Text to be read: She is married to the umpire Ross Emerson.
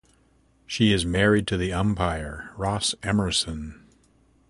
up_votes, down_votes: 2, 0